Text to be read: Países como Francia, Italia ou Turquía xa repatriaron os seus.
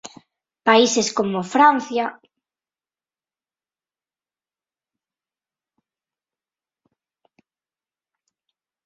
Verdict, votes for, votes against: rejected, 0, 2